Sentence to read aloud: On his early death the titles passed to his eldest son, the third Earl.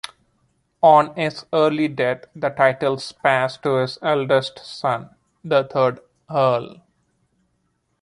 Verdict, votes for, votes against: accepted, 2, 1